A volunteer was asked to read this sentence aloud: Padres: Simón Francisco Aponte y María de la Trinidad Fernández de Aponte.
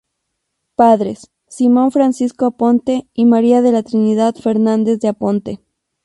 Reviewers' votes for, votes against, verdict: 2, 0, accepted